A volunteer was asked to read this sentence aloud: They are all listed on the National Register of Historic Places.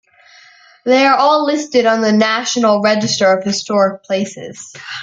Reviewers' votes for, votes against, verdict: 2, 1, accepted